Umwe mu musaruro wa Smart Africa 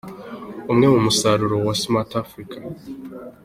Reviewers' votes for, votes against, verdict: 2, 0, accepted